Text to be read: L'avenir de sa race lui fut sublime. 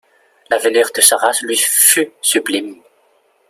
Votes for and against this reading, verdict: 2, 1, accepted